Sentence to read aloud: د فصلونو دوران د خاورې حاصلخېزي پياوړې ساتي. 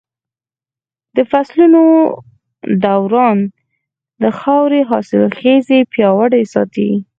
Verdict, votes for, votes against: rejected, 2, 4